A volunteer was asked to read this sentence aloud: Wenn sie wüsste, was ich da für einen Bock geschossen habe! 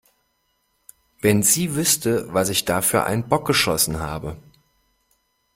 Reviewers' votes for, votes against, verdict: 2, 0, accepted